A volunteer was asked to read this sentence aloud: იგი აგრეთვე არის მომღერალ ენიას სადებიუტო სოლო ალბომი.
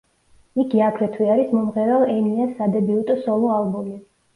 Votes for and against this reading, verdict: 2, 0, accepted